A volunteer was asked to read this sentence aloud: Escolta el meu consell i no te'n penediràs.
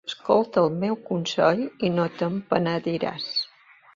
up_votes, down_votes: 2, 0